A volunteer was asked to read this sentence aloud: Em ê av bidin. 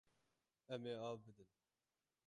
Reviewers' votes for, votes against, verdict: 0, 6, rejected